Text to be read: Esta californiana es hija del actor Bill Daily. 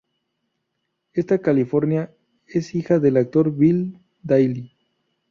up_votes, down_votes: 0, 4